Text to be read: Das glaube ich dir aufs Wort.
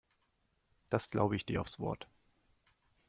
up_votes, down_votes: 2, 0